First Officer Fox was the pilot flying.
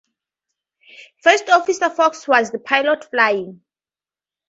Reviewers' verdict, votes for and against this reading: accepted, 4, 0